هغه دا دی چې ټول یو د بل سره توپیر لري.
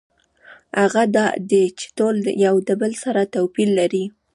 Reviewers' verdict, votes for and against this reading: rejected, 0, 2